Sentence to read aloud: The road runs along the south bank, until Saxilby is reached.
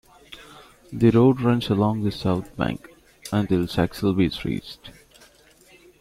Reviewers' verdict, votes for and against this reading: accepted, 2, 0